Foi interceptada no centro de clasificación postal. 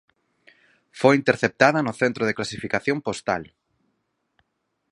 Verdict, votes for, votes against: accepted, 4, 0